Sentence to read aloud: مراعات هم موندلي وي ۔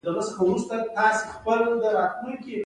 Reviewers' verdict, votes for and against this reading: rejected, 0, 3